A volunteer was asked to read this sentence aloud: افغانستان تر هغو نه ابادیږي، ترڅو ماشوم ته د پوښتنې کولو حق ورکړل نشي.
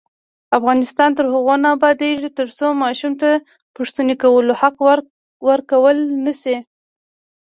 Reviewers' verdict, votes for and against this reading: rejected, 0, 2